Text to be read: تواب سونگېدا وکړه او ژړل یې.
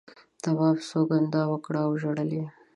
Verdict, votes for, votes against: rejected, 0, 2